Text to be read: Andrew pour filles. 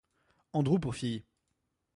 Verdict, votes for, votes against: accepted, 2, 0